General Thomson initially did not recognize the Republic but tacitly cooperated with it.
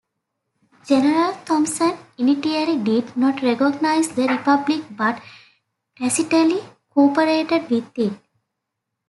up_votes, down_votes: 0, 2